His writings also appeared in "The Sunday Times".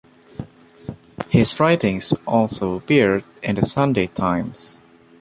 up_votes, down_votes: 2, 1